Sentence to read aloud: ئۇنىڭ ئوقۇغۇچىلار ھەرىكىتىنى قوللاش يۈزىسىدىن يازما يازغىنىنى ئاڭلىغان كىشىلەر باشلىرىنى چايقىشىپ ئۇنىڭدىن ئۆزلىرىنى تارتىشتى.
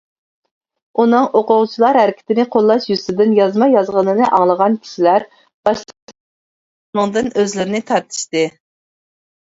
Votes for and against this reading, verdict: 0, 2, rejected